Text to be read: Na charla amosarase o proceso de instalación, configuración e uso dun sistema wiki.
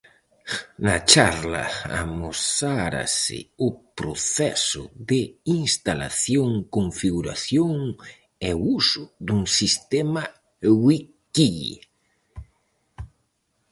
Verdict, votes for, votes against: rejected, 0, 4